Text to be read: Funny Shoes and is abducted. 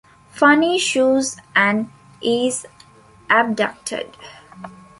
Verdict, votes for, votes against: accepted, 2, 0